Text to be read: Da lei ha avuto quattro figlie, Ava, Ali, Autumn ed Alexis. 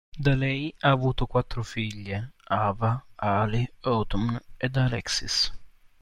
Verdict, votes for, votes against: accepted, 2, 0